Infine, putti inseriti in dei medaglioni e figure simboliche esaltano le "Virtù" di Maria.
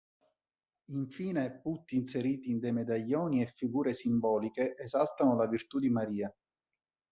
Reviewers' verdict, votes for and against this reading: accepted, 3, 0